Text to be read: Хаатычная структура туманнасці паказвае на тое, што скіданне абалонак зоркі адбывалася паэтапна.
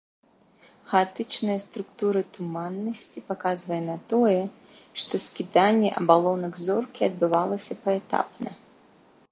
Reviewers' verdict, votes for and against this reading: accepted, 2, 0